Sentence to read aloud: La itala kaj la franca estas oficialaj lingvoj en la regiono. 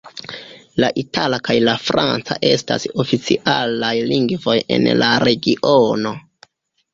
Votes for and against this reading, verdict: 2, 0, accepted